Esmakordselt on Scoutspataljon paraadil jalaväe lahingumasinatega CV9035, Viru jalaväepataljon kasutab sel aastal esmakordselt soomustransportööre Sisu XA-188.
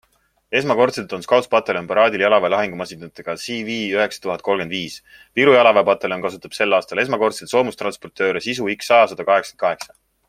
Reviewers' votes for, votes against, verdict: 0, 2, rejected